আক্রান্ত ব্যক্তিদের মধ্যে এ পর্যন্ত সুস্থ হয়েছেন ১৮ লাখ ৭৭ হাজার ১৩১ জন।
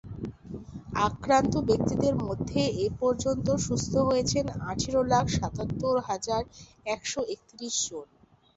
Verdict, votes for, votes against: rejected, 0, 2